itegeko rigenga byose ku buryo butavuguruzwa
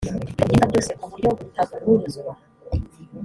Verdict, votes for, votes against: rejected, 1, 2